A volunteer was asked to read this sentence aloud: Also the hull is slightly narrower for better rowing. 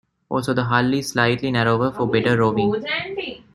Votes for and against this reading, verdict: 1, 2, rejected